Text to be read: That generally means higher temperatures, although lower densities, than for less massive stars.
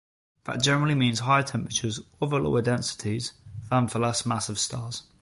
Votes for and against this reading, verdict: 2, 0, accepted